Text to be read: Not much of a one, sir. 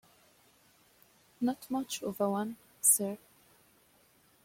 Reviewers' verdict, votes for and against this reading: accepted, 2, 0